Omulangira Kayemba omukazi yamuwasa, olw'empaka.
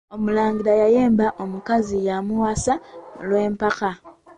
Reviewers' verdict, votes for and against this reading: rejected, 0, 2